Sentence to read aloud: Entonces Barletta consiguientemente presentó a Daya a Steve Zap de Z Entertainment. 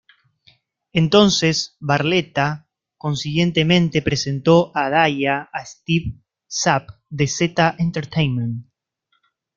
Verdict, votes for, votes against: rejected, 1, 2